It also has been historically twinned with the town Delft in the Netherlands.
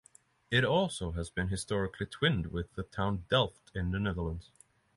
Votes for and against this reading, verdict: 6, 0, accepted